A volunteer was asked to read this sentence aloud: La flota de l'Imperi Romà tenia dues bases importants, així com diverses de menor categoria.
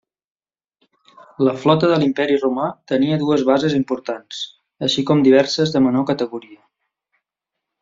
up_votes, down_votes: 3, 1